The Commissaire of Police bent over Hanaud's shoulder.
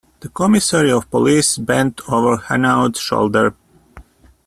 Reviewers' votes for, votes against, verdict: 1, 2, rejected